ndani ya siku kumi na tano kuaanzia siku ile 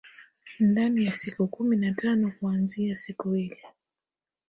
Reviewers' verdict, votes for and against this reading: accepted, 6, 0